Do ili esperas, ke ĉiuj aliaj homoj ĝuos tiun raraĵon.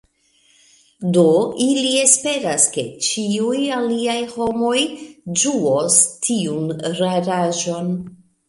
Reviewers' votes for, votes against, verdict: 2, 0, accepted